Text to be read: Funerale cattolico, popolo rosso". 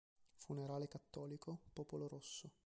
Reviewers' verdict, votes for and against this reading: accepted, 2, 1